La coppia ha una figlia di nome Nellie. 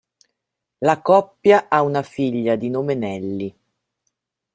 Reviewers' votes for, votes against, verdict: 2, 0, accepted